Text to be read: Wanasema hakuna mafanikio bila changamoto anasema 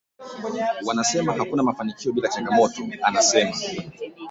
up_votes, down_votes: 2, 4